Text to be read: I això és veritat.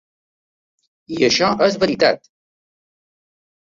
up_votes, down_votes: 2, 0